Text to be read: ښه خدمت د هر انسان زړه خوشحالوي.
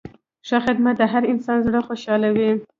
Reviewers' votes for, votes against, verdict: 2, 0, accepted